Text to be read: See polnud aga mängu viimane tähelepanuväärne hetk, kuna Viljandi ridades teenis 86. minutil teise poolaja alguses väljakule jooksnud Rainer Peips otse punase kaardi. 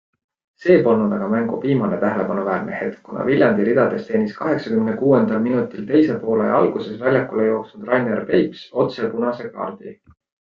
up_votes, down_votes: 0, 2